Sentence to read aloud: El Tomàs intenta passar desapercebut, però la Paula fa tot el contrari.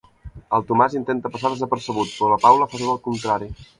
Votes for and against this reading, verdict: 1, 2, rejected